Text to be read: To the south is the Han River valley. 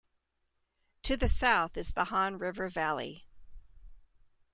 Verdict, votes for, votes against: accepted, 2, 0